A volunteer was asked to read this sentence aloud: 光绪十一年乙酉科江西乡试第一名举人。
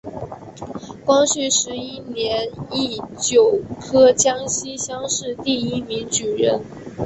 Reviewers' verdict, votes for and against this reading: rejected, 0, 4